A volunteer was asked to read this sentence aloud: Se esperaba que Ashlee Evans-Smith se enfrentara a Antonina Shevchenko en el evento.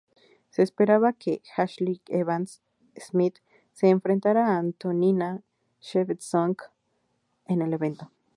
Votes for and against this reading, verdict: 0, 2, rejected